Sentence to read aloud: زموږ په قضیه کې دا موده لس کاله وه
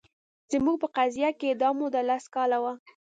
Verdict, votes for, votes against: accepted, 2, 0